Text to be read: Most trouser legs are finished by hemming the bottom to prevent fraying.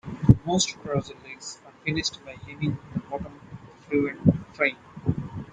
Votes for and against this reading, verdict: 0, 2, rejected